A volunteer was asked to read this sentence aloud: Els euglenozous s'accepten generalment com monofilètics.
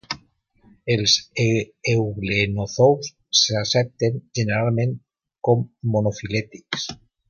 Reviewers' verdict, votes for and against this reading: rejected, 1, 2